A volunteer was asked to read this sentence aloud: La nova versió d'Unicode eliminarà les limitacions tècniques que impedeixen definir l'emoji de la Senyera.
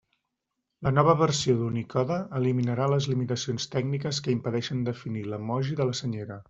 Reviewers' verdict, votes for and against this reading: accepted, 2, 0